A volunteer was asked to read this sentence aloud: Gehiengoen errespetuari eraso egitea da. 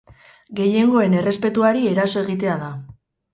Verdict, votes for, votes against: accepted, 4, 0